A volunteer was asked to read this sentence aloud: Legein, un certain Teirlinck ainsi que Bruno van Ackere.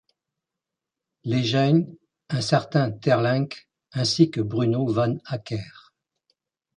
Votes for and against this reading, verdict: 2, 0, accepted